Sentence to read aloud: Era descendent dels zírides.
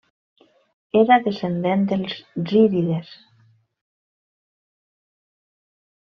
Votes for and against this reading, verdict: 1, 2, rejected